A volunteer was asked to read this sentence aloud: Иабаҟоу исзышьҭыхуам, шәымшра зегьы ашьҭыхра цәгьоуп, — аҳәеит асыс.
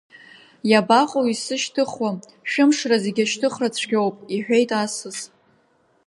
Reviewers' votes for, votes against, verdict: 1, 2, rejected